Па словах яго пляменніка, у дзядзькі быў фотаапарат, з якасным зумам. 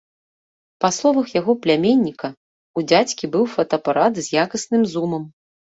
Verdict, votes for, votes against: accepted, 2, 0